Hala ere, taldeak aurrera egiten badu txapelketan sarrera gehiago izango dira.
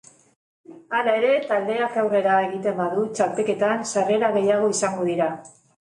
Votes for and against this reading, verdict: 3, 1, accepted